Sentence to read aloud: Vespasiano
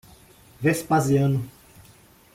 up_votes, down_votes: 2, 0